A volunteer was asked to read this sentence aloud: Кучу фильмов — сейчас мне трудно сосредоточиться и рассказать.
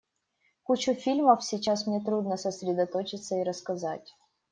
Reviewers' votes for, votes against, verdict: 2, 0, accepted